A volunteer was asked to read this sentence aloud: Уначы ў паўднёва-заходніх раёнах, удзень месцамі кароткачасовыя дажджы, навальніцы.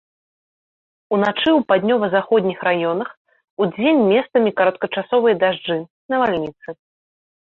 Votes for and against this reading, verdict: 2, 0, accepted